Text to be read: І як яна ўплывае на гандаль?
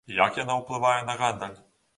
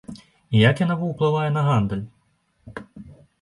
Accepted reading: first